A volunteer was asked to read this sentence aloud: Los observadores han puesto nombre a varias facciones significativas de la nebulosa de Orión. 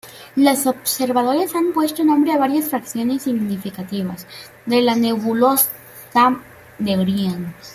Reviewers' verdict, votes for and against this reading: rejected, 1, 3